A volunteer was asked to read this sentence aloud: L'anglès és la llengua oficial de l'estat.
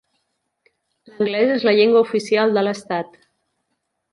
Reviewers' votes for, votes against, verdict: 1, 2, rejected